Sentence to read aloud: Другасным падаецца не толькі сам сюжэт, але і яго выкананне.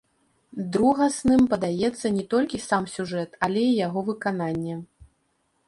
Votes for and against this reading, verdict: 2, 0, accepted